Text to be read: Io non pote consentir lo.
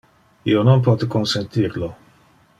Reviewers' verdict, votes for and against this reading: accepted, 2, 0